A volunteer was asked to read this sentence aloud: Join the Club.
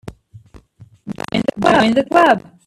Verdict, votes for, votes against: rejected, 0, 2